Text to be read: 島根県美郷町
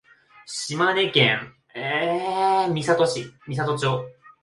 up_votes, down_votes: 5, 2